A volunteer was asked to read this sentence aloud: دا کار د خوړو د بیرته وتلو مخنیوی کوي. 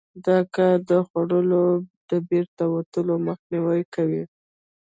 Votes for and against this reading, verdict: 0, 2, rejected